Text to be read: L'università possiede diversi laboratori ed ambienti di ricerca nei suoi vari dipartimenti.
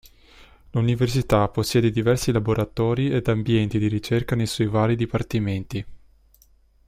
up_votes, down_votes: 2, 0